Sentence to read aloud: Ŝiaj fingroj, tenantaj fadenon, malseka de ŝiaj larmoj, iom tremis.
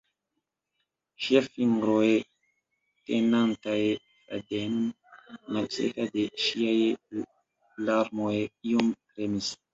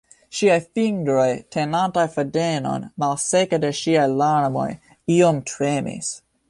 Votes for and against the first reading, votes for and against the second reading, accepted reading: 1, 2, 2, 0, second